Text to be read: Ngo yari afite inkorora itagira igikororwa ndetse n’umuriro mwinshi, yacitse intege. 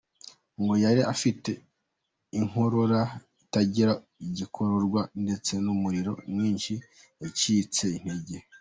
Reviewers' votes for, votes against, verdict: 2, 0, accepted